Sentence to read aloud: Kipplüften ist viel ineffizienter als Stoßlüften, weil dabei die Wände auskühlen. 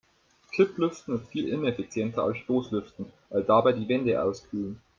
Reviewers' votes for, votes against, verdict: 3, 2, accepted